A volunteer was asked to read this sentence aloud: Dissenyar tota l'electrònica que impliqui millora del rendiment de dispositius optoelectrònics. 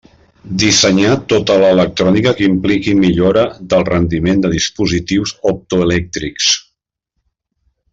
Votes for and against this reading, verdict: 0, 2, rejected